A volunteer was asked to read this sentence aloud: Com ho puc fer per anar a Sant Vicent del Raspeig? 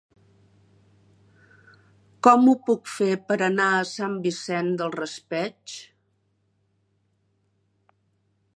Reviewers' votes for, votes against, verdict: 2, 0, accepted